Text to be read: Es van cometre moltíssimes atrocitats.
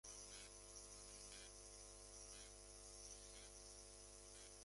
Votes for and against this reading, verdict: 0, 2, rejected